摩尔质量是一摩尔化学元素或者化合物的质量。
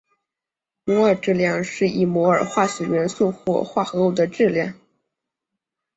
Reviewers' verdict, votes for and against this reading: accepted, 2, 1